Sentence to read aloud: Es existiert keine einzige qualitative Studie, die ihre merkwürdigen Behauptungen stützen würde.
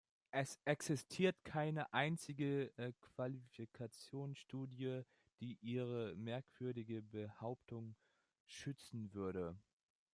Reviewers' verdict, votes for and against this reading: rejected, 0, 2